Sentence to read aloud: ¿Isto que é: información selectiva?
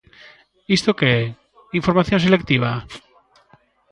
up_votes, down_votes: 2, 0